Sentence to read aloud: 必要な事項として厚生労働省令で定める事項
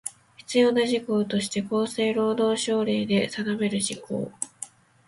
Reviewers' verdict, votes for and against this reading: rejected, 0, 2